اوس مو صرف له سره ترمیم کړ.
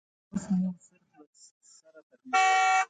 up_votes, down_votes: 0, 2